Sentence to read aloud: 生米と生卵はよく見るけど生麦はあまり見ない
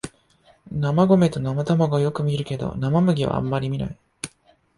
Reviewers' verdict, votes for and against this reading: rejected, 0, 2